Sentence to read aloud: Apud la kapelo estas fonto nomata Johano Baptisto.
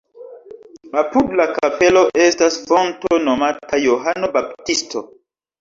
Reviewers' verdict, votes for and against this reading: accepted, 2, 1